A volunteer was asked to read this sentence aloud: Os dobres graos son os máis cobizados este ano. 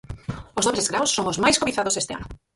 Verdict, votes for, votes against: rejected, 2, 4